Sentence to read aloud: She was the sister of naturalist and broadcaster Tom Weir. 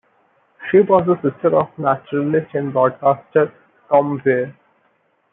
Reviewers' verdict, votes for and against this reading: rejected, 0, 2